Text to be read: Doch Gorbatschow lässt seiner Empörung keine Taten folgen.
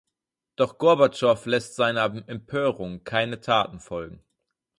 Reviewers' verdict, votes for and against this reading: rejected, 2, 4